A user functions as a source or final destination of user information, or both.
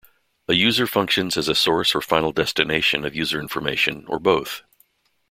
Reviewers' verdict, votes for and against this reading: accepted, 2, 0